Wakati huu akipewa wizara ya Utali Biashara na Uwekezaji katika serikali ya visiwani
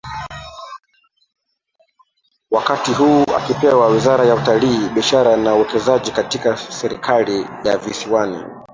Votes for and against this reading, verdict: 0, 3, rejected